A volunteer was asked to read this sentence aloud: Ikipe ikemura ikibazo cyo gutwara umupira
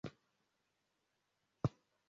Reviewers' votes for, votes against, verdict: 0, 2, rejected